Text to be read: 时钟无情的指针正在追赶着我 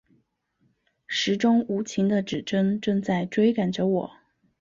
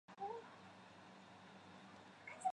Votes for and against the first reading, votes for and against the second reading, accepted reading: 2, 1, 0, 2, first